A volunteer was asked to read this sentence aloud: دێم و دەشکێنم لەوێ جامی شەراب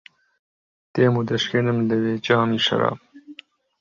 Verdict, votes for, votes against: rejected, 1, 2